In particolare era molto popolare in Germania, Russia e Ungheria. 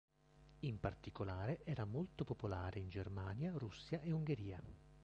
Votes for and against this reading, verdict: 2, 1, accepted